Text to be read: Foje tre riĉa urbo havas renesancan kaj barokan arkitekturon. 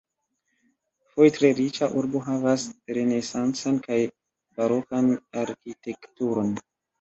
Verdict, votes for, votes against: rejected, 1, 2